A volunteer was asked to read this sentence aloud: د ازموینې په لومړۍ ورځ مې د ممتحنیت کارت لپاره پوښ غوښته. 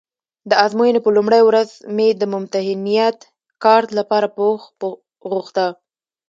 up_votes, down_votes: 1, 2